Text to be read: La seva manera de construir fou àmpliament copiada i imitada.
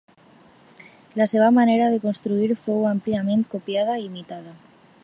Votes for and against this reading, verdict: 2, 0, accepted